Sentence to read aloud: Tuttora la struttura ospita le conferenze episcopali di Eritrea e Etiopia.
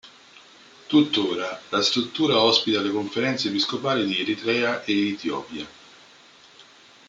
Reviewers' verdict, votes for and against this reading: rejected, 0, 2